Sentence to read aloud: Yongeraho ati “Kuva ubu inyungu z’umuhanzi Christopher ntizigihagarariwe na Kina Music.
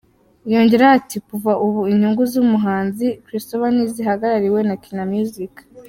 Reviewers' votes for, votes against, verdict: 2, 0, accepted